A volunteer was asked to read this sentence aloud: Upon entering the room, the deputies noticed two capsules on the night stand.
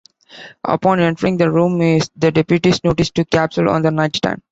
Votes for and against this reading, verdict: 0, 2, rejected